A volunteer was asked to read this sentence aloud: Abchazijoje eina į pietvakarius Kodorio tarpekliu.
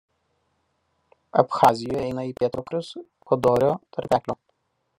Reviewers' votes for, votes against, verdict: 0, 2, rejected